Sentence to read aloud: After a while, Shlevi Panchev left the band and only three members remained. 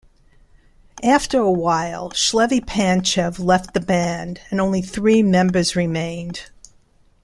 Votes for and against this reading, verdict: 2, 0, accepted